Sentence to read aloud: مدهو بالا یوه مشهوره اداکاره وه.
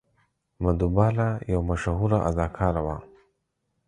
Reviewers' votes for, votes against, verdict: 4, 0, accepted